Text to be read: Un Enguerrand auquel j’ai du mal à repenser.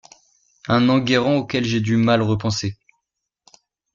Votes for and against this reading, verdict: 0, 2, rejected